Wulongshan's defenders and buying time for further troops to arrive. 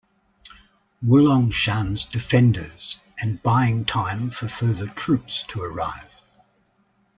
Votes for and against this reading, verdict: 2, 0, accepted